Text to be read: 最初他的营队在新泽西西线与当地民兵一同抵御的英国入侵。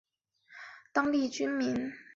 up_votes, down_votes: 2, 3